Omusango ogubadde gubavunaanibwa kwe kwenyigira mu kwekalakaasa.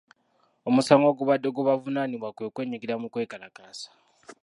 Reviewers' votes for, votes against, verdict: 1, 2, rejected